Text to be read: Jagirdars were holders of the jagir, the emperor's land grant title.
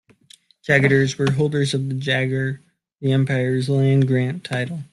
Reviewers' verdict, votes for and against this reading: rejected, 2, 3